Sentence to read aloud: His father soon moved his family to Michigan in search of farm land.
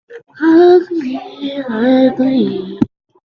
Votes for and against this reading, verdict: 0, 2, rejected